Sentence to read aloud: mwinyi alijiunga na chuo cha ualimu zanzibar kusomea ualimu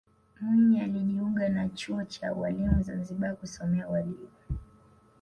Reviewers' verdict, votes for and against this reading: rejected, 0, 2